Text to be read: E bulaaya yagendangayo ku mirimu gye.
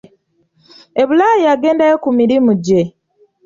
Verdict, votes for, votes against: rejected, 0, 2